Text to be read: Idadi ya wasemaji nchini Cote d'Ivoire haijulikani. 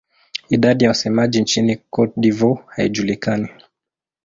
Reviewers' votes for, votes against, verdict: 2, 0, accepted